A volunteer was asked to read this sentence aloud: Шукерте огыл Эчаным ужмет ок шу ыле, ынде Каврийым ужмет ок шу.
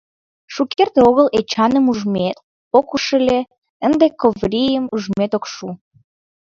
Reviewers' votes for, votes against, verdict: 1, 2, rejected